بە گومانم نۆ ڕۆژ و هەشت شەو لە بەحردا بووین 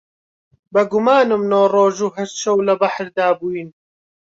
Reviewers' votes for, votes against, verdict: 2, 0, accepted